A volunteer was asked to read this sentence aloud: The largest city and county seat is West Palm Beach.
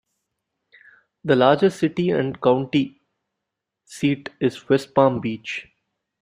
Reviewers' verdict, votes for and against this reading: accepted, 2, 1